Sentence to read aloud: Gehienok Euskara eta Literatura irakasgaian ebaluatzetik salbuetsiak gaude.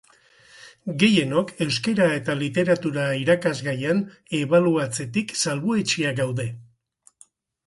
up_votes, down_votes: 4, 2